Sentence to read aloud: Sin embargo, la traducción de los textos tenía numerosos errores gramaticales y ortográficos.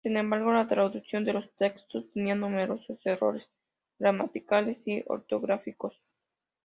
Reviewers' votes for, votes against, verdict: 2, 0, accepted